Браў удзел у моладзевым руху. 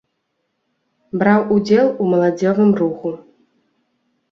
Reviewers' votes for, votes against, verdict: 1, 2, rejected